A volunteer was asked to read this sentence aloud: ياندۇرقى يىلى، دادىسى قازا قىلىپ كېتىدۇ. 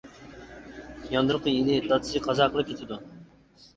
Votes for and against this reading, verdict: 1, 2, rejected